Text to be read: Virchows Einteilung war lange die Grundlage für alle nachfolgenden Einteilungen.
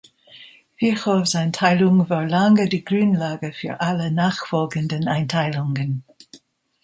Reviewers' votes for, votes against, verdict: 0, 2, rejected